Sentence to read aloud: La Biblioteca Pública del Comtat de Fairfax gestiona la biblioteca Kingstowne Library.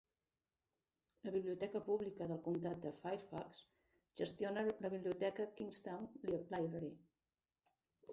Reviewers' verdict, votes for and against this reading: accepted, 2, 1